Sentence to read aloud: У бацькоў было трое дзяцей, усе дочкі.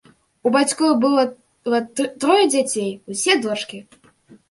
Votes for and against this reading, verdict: 0, 2, rejected